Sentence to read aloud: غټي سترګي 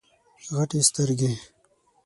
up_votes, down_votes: 6, 0